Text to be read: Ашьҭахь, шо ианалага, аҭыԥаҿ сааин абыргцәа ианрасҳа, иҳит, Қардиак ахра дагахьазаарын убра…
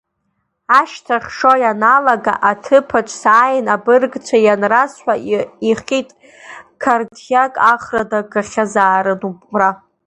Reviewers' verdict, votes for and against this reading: accepted, 2, 0